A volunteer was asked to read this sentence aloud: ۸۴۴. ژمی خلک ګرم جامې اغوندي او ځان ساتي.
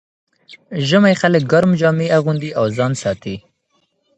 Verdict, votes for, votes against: rejected, 0, 2